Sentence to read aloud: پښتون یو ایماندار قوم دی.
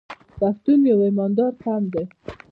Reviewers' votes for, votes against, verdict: 2, 0, accepted